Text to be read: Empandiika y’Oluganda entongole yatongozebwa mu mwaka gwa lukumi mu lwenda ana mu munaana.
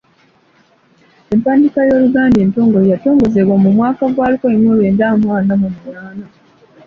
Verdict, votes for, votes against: accepted, 3, 0